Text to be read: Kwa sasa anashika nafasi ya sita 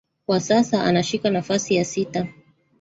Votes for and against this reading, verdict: 1, 2, rejected